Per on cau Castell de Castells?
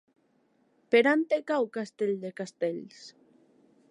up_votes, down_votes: 1, 2